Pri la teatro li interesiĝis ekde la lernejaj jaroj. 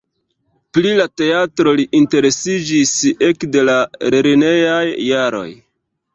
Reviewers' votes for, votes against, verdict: 0, 2, rejected